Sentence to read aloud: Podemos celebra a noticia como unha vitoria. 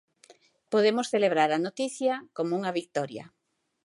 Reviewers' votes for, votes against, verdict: 0, 2, rejected